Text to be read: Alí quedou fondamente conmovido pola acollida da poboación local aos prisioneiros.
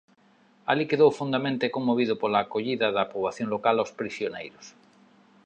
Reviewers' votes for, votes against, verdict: 2, 0, accepted